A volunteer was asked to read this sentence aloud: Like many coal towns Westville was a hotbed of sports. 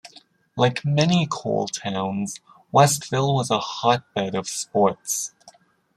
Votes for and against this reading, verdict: 2, 0, accepted